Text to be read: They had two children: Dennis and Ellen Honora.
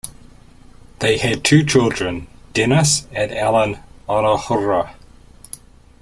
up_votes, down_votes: 0, 2